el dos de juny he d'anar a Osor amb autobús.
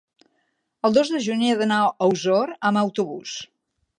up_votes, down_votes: 3, 0